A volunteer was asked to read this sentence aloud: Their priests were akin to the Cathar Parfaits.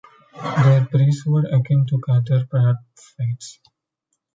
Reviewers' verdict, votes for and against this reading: rejected, 1, 2